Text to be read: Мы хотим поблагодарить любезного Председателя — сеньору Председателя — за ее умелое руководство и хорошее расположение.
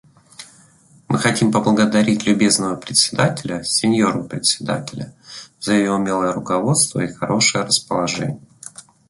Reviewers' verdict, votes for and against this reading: accepted, 2, 0